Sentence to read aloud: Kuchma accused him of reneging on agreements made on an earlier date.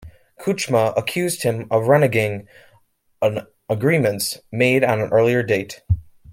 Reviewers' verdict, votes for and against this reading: rejected, 1, 2